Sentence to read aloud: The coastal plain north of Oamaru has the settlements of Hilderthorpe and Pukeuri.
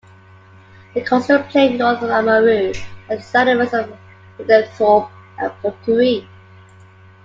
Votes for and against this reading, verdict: 0, 2, rejected